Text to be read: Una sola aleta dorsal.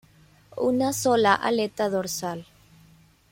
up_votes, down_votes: 1, 2